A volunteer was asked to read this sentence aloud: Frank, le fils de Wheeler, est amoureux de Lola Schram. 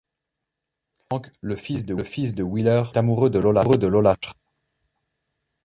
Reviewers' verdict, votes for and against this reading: rejected, 0, 2